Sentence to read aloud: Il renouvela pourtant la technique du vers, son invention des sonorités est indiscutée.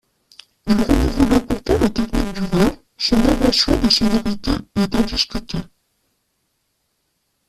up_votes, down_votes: 0, 2